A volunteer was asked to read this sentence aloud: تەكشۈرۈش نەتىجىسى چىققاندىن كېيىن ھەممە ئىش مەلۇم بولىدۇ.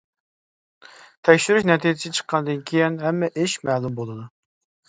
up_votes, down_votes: 3, 0